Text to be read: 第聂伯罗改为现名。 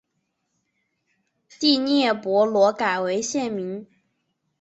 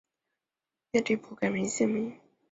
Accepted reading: first